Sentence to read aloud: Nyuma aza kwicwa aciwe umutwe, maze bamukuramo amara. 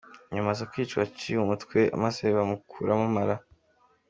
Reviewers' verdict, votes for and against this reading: accepted, 2, 0